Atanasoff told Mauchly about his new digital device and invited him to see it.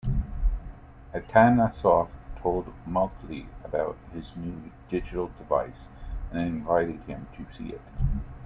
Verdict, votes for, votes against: accepted, 2, 0